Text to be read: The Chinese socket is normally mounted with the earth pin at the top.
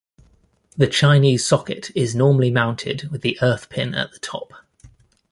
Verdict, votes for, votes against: accepted, 2, 0